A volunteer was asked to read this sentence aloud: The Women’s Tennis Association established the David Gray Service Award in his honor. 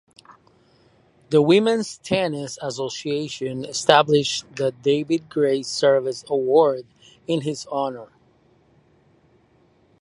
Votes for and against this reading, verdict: 2, 0, accepted